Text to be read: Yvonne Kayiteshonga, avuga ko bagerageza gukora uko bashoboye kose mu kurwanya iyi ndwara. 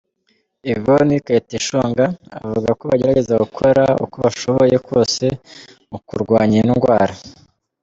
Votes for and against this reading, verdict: 2, 0, accepted